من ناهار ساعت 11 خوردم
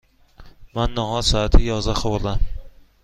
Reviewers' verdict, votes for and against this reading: rejected, 0, 2